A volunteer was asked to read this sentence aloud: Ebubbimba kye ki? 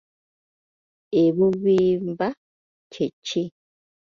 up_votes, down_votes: 0, 2